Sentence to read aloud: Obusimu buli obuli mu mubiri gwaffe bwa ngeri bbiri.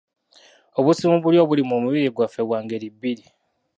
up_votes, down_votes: 0, 2